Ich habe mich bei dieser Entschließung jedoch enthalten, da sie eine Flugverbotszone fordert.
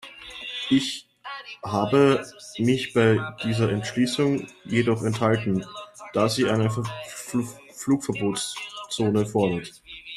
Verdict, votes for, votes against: rejected, 0, 2